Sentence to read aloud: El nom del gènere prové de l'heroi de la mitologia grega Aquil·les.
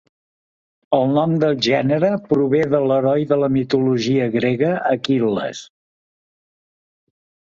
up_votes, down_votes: 3, 0